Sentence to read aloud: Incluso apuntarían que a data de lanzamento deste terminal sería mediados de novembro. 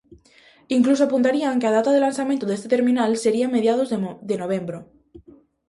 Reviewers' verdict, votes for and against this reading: rejected, 0, 2